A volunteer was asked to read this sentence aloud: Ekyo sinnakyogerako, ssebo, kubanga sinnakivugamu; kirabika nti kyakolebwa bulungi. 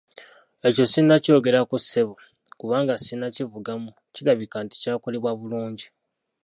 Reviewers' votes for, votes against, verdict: 1, 2, rejected